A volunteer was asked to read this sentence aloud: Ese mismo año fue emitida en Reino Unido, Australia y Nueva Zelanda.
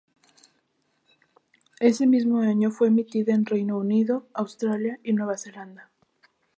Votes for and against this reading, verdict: 2, 0, accepted